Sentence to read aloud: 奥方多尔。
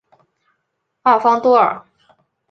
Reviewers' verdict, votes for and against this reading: accepted, 2, 0